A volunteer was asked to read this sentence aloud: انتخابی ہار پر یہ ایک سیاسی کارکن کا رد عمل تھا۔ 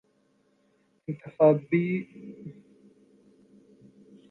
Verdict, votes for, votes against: rejected, 1, 2